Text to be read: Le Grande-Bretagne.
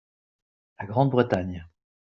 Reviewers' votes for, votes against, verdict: 1, 2, rejected